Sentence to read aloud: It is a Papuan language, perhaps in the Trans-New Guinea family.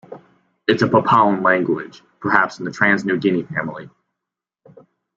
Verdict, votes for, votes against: accepted, 2, 1